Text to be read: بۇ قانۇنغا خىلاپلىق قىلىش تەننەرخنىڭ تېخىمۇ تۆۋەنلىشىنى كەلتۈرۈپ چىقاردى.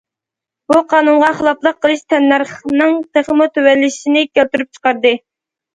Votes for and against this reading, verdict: 2, 0, accepted